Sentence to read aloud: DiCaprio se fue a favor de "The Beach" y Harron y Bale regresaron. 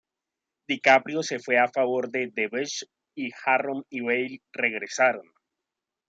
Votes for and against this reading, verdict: 2, 1, accepted